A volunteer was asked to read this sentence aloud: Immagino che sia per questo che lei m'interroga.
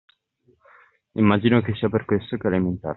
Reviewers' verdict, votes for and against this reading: rejected, 1, 2